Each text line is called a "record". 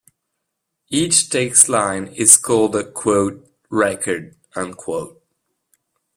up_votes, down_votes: 1, 2